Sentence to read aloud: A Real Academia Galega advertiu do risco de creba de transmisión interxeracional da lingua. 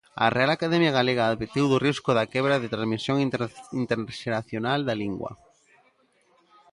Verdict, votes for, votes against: rejected, 0, 2